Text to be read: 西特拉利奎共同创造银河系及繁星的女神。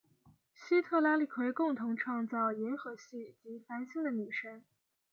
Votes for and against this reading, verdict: 2, 0, accepted